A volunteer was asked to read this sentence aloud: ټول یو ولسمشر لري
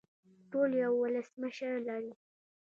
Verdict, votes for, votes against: accepted, 2, 0